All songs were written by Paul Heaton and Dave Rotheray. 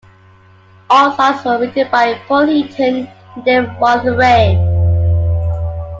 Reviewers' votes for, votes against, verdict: 0, 2, rejected